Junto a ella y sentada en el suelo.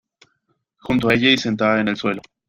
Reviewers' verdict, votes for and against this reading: accepted, 2, 0